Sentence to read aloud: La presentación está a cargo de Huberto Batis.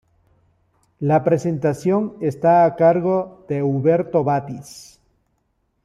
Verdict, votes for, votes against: accepted, 2, 0